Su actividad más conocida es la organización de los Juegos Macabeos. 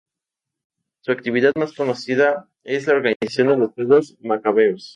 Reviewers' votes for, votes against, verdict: 0, 2, rejected